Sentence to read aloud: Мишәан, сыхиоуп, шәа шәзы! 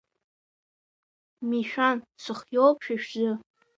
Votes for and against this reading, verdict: 2, 1, accepted